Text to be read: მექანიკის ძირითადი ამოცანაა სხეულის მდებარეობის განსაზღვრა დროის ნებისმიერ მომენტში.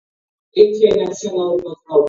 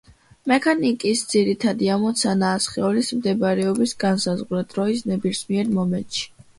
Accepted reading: second